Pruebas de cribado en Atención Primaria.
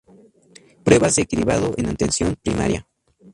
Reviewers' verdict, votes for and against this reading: rejected, 2, 2